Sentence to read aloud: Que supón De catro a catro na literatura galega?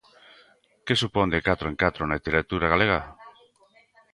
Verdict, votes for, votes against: rejected, 0, 2